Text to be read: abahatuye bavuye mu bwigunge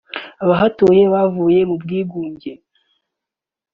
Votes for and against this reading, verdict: 2, 0, accepted